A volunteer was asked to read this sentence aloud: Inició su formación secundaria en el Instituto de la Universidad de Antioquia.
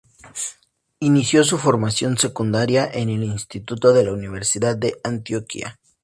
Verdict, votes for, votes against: accepted, 2, 0